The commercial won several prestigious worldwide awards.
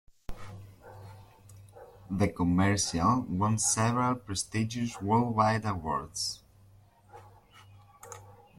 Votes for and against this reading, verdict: 2, 0, accepted